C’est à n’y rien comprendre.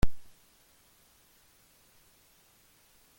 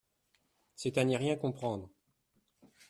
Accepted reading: second